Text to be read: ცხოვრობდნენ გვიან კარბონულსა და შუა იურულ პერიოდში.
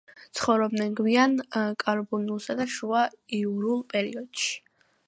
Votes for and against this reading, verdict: 2, 0, accepted